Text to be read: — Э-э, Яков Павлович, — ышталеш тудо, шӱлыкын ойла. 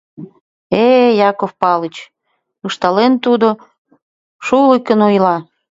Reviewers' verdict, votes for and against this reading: rejected, 1, 2